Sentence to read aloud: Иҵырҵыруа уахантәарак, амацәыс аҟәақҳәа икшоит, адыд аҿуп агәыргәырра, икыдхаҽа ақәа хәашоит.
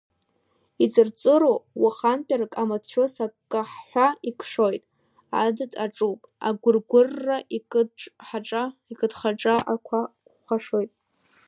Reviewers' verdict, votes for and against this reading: accepted, 2, 1